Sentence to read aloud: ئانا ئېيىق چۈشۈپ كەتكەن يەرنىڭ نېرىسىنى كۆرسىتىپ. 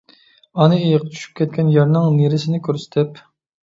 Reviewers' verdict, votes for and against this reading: accepted, 2, 0